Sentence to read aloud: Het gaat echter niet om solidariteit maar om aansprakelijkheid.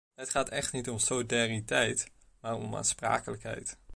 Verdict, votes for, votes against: rejected, 1, 2